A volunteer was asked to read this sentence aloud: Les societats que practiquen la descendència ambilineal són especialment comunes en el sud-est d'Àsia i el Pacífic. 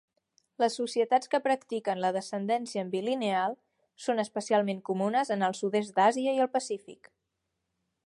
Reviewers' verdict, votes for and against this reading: accepted, 3, 0